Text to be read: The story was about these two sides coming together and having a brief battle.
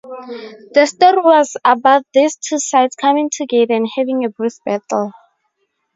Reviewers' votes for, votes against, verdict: 2, 2, rejected